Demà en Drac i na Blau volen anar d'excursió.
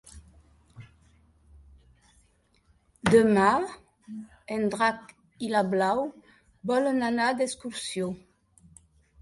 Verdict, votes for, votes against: accepted, 2, 0